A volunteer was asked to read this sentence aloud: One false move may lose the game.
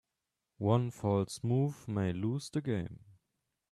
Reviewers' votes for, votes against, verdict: 2, 0, accepted